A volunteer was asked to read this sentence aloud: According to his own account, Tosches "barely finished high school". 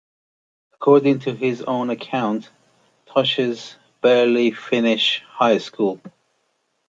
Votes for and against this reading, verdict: 2, 0, accepted